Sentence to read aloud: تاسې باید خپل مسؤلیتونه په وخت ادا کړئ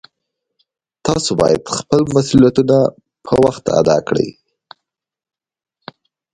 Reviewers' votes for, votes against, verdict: 2, 0, accepted